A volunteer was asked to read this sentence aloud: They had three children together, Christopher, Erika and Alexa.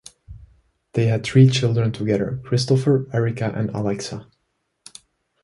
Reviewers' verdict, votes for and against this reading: accepted, 2, 0